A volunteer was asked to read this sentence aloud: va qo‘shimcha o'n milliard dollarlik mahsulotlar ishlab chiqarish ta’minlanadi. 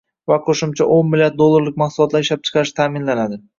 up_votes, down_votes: 2, 0